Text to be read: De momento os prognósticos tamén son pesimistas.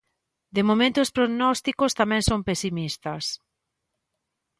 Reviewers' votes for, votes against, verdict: 2, 0, accepted